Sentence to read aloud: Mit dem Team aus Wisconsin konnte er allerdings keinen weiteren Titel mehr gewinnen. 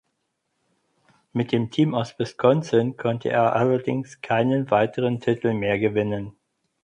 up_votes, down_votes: 4, 0